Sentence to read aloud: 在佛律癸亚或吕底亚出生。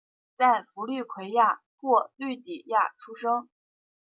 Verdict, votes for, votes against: rejected, 0, 2